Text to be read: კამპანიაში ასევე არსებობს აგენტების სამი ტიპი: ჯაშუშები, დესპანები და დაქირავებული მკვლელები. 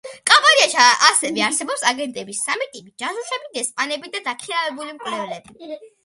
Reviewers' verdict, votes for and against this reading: accepted, 2, 0